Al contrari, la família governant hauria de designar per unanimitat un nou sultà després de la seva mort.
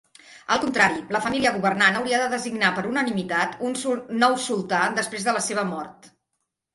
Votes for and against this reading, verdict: 0, 2, rejected